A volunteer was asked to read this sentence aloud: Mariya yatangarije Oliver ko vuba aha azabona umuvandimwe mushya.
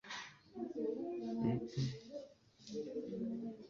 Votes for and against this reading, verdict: 1, 2, rejected